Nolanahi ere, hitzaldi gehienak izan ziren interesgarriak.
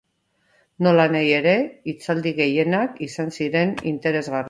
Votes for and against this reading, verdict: 0, 3, rejected